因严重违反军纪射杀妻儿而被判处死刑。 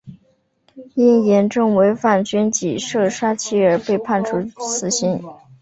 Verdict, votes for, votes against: rejected, 1, 2